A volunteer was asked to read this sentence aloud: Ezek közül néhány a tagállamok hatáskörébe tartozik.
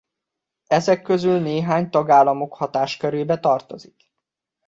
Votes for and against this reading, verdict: 0, 2, rejected